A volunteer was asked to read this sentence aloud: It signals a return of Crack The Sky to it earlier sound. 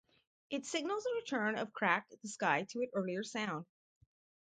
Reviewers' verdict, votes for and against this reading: rejected, 2, 2